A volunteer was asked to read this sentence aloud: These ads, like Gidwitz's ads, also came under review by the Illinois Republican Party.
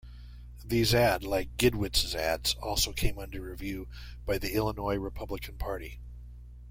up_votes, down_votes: 1, 2